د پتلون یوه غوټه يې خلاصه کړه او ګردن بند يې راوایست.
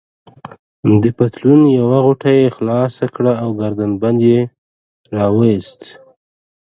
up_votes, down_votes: 2, 0